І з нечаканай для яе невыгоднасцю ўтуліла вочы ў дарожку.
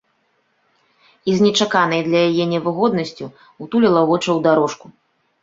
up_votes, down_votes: 2, 0